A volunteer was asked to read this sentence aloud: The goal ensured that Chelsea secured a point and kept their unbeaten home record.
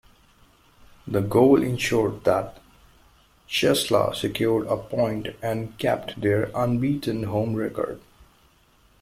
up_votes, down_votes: 0, 2